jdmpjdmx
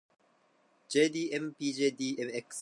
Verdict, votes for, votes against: accepted, 2, 0